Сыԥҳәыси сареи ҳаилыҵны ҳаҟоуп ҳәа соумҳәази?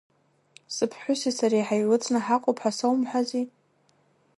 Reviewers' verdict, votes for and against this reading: rejected, 1, 2